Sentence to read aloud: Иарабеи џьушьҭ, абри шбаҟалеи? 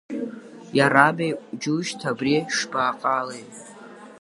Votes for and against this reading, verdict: 0, 2, rejected